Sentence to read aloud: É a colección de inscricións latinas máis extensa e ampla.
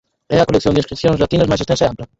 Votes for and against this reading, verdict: 0, 4, rejected